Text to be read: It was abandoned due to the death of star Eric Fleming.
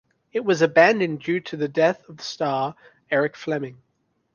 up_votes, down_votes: 1, 2